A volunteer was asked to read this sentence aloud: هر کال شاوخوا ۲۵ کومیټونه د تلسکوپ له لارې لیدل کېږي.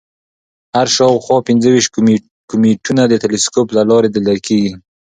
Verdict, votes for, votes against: rejected, 0, 2